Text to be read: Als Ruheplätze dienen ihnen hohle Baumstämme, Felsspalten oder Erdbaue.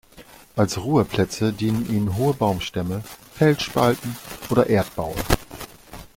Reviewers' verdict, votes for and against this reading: rejected, 1, 2